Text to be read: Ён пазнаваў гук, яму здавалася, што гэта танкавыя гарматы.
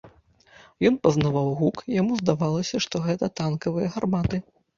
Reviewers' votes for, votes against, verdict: 1, 2, rejected